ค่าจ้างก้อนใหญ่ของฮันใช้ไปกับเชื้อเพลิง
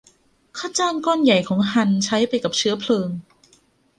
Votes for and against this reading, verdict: 2, 0, accepted